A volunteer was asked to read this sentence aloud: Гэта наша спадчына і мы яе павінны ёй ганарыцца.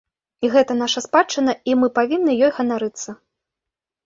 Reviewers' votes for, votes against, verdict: 0, 2, rejected